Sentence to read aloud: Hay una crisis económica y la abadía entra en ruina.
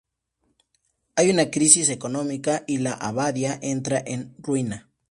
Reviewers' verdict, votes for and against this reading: rejected, 0, 2